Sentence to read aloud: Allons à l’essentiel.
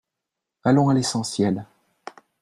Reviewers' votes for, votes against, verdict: 3, 0, accepted